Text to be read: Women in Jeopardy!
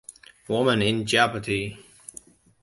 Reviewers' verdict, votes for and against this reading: accepted, 2, 0